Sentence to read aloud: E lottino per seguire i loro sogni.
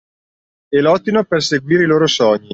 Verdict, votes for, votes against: accepted, 2, 1